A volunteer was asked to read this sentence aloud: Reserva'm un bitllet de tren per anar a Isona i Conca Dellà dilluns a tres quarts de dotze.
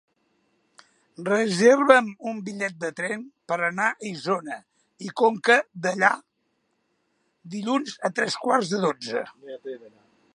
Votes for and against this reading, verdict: 2, 1, accepted